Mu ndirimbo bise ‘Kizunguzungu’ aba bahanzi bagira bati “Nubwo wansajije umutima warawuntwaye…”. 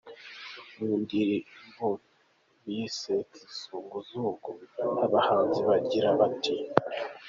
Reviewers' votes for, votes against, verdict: 0, 3, rejected